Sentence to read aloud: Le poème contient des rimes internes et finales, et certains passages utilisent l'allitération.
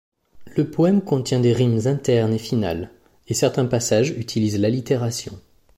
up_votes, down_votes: 2, 0